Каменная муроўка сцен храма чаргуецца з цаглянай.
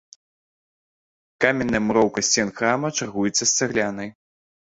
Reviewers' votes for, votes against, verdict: 1, 2, rejected